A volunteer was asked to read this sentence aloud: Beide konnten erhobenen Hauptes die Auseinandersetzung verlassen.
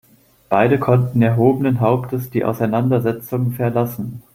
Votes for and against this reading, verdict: 2, 0, accepted